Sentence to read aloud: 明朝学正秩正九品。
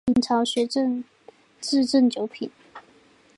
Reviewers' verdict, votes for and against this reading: accepted, 2, 0